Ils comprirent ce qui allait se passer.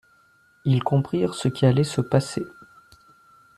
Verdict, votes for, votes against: accepted, 2, 0